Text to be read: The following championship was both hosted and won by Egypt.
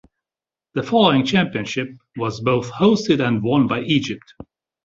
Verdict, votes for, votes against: accepted, 2, 0